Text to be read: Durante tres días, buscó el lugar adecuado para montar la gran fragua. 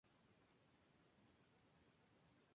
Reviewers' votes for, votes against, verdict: 0, 2, rejected